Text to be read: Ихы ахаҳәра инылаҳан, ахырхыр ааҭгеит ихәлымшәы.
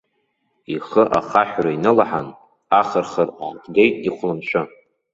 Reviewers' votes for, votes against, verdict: 1, 2, rejected